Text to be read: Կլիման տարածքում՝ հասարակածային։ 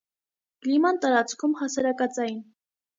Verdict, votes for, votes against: accepted, 2, 0